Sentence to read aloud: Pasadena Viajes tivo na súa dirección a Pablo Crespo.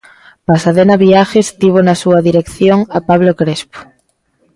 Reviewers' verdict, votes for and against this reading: accepted, 2, 0